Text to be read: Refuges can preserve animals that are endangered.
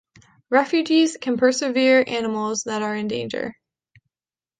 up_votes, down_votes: 1, 2